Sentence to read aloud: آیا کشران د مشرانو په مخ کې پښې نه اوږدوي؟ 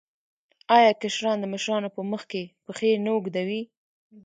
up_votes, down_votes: 1, 2